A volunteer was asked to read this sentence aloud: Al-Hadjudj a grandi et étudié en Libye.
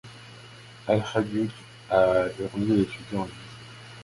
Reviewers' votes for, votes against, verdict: 2, 1, accepted